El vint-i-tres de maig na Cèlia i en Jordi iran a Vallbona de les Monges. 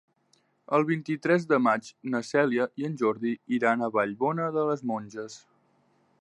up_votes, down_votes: 3, 0